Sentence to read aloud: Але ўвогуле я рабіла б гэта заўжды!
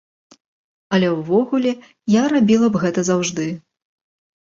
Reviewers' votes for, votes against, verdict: 2, 0, accepted